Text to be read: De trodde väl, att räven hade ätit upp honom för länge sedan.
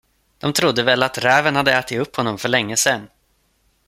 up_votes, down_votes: 2, 0